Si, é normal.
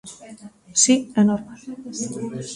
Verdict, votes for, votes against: rejected, 0, 2